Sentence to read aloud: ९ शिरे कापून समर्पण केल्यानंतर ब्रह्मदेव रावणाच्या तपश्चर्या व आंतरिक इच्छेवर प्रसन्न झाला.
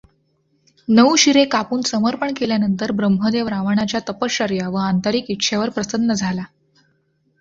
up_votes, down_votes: 0, 2